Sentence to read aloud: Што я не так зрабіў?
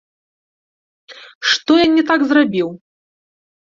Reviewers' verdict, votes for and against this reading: rejected, 1, 2